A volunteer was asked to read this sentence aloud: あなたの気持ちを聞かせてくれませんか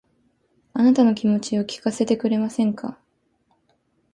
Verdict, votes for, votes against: rejected, 1, 2